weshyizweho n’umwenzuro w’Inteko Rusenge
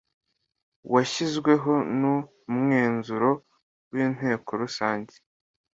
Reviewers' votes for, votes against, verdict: 2, 0, accepted